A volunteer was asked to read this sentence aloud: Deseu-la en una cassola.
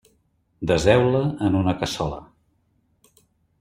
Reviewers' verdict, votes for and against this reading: accepted, 2, 0